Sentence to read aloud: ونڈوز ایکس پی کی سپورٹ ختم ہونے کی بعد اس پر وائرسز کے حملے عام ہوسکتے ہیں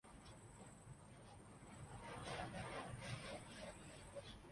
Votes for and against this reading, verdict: 0, 2, rejected